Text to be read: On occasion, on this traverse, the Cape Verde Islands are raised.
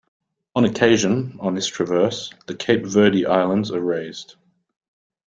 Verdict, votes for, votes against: accepted, 2, 1